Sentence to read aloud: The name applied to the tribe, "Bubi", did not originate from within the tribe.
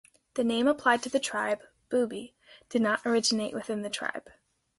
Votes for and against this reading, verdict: 2, 0, accepted